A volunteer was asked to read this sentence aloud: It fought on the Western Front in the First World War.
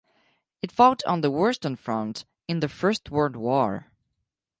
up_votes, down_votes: 2, 4